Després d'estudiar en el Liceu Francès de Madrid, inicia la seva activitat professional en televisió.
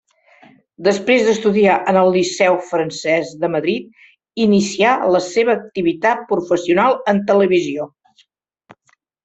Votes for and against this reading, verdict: 1, 2, rejected